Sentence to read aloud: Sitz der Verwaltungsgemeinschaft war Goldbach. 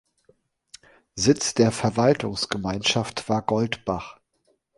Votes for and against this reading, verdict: 2, 1, accepted